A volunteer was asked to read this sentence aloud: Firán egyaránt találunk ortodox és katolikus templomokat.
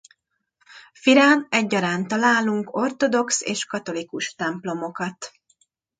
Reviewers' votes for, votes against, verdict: 2, 0, accepted